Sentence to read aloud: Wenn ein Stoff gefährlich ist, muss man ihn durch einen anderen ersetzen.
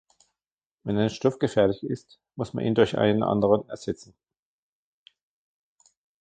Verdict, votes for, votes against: rejected, 1, 2